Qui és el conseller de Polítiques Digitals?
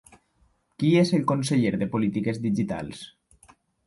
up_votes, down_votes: 3, 0